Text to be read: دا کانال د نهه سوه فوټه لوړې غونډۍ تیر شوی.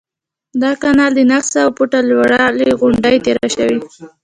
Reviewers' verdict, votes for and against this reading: accepted, 2, 0